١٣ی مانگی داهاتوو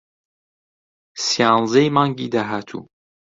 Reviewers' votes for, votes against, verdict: 0, 2, rejected